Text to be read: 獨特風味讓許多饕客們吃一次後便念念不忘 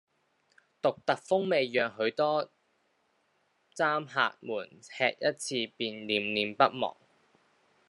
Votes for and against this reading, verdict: 0, 2, rejected